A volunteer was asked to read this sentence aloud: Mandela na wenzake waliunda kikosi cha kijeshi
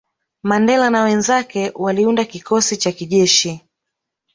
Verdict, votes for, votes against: rejected, 0, 2